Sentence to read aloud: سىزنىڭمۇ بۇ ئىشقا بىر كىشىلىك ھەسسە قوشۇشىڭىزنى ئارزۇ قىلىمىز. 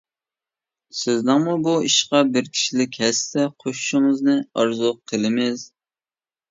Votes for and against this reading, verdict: 2, 0, accepted